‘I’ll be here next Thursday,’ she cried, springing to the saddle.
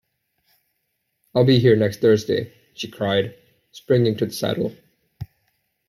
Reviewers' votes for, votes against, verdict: 2, 0, accepted